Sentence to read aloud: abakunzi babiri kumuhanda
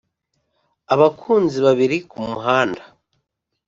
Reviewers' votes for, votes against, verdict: 3, 0, accepted